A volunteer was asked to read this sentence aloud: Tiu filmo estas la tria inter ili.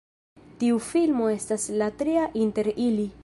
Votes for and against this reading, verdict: 1, 2, rejected